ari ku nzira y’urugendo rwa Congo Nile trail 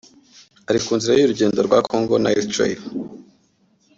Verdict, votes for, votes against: accepted, 2, 0